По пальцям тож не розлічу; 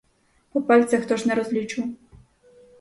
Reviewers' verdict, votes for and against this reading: rejected, 0, 4